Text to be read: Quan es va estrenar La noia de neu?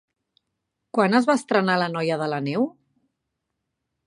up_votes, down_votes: 1, 3